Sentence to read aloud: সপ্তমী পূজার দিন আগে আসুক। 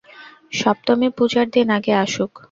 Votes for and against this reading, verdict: 2, 0, accepted